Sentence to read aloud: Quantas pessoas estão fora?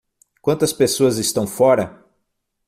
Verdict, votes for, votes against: accepted, 6, 0